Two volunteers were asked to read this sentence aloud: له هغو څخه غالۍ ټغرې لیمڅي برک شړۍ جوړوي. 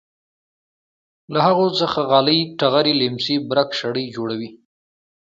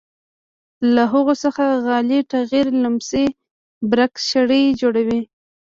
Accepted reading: first